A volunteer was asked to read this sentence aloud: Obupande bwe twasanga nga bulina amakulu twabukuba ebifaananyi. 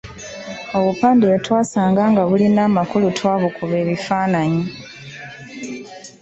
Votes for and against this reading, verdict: 2, 0, accepted